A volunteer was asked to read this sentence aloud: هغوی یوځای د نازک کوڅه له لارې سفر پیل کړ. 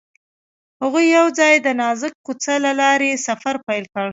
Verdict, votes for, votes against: accepted, 2, 0